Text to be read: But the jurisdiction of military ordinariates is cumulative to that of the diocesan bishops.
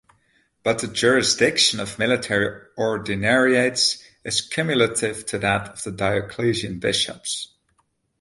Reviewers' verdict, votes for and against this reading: accepted, 2, 0